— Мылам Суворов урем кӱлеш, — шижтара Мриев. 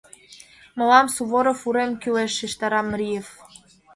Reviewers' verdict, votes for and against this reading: accepted, 2, 1